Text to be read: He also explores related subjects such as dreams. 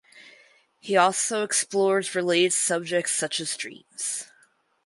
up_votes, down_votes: 0, 4